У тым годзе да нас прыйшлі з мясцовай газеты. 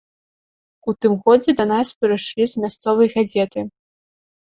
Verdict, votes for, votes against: accepted, 2, 0